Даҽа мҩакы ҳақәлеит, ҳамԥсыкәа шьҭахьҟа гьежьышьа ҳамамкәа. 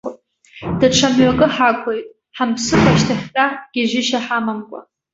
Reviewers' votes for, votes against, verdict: 2, 1, accepted